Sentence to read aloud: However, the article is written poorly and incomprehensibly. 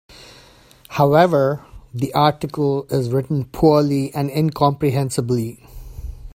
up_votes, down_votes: 3, 1